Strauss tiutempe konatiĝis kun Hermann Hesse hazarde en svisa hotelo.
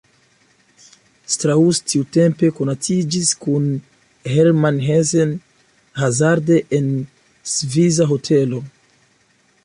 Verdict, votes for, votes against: rejected, 0, 2